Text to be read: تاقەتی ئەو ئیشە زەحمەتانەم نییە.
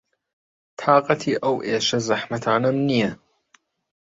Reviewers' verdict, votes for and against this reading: rejected, 1, 2